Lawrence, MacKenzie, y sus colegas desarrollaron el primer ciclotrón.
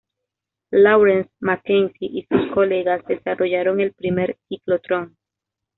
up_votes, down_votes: 2, 0